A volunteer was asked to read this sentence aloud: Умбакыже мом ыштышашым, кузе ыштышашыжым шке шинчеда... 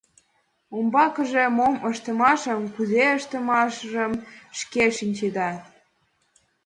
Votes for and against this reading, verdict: 2, 0, accepted